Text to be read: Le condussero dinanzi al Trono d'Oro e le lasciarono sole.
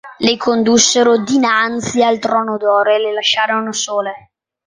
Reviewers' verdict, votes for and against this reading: accepted, 3, 1